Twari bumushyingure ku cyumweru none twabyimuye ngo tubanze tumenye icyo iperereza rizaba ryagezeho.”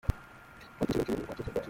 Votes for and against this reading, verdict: 0, 2, rejected